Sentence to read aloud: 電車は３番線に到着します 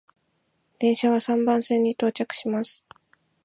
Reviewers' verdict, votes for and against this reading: rejected, 0, 2